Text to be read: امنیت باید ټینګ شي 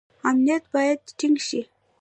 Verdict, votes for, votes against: rejected, 0, 2